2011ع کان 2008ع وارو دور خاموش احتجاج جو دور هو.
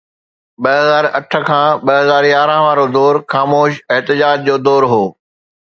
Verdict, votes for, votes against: rejected, 0, 2